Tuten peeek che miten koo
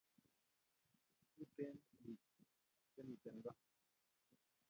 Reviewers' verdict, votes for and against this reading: rejected, 1, 2